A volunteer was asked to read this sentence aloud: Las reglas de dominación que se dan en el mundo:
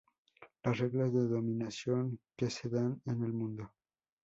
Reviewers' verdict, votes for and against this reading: accepted, 2, 0